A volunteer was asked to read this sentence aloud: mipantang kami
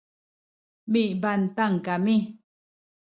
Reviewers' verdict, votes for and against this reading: rejected, 0, 2